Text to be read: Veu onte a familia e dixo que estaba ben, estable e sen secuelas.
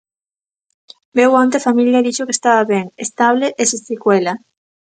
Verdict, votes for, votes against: rejected, 0, 2